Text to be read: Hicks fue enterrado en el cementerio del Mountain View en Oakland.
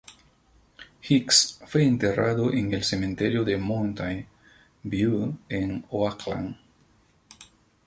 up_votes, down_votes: 0, 2